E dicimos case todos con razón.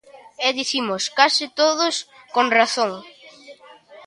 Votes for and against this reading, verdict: 2, 0, accepted